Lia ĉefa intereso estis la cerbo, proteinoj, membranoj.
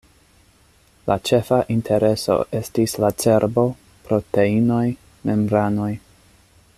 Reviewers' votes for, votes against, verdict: 2, 1, accepted